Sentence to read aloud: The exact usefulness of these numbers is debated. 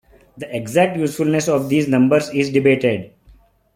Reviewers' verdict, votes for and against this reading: accepted, 2, 0